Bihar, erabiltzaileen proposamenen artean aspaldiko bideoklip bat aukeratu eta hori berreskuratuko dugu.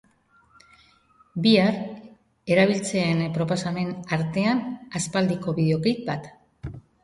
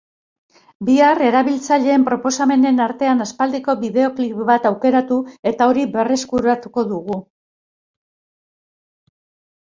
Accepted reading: second